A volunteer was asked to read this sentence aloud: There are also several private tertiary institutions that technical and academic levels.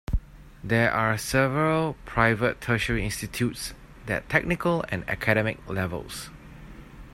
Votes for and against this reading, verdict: 0, 2, rejected